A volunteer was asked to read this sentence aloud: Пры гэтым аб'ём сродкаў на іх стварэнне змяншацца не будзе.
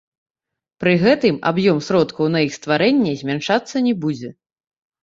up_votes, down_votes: 1, 2